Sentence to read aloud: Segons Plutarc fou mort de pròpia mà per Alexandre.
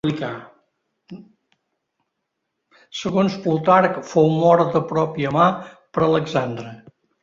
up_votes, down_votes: 0, 2